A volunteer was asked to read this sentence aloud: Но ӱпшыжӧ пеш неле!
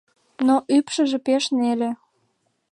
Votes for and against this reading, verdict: 2, 0, accepted